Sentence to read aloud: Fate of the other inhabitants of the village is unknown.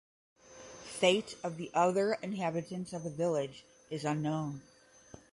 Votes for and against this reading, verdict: 10, 0, accepted